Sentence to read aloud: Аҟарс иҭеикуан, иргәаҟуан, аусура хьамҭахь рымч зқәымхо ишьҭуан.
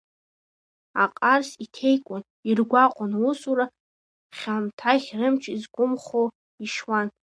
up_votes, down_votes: 0, 2